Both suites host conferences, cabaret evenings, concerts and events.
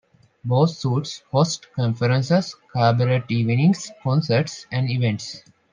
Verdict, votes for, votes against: rejected, 0, 2